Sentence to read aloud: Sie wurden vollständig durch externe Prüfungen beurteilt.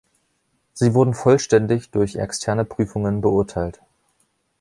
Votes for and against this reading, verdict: 2, 0, accepted